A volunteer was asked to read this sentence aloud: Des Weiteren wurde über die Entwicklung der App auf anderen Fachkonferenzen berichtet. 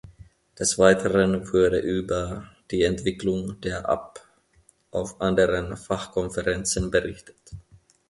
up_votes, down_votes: 1, 2